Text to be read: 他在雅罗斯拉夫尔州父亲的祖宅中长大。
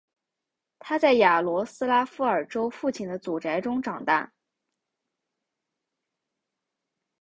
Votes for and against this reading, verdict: 2, 0, accepted